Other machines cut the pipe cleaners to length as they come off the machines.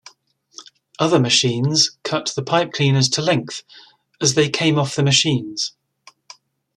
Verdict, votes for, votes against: rejected, 0, 2